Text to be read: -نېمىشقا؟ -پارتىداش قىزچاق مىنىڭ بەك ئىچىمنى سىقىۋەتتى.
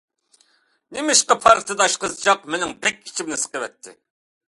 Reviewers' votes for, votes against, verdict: 2, 0, accepted